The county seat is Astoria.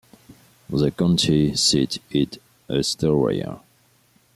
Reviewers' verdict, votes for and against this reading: accepted, 2, 0